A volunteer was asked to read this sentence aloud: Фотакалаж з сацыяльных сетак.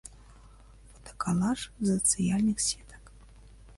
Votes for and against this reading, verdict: 0, 3, rejected